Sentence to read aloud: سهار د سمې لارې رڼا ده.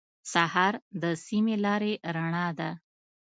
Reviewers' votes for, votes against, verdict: 2, 0, accepted